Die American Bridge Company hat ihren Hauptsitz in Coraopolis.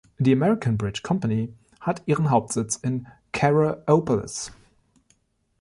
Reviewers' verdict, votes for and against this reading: accepted, 2, 0